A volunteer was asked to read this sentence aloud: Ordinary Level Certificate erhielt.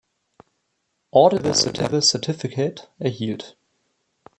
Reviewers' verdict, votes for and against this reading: rejected, 0, 2